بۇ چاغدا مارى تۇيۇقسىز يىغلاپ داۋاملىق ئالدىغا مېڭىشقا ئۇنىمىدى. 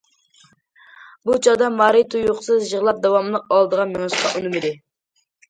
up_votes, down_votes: 2, 0